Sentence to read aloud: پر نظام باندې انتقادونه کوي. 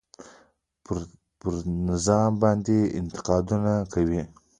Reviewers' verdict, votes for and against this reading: rejected, 0, 2